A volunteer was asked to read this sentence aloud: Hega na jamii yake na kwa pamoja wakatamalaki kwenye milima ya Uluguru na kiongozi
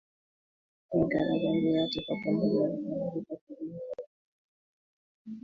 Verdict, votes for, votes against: rejected, 0, 2